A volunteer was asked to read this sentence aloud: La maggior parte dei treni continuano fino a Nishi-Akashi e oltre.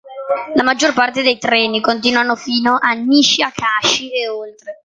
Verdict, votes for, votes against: accepted, 2, 0